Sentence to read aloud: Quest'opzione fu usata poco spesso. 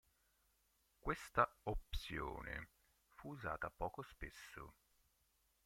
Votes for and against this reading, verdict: 0, 3, rejected